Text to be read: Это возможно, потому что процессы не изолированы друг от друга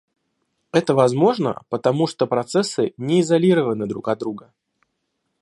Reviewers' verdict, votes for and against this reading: accepted, 2, 0